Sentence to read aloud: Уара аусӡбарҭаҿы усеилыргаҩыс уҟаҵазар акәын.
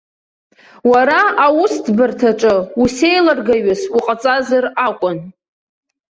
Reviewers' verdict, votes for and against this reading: rejected, 1, 2